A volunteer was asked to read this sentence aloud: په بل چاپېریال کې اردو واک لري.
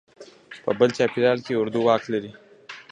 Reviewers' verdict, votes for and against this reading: accepted, 2, 0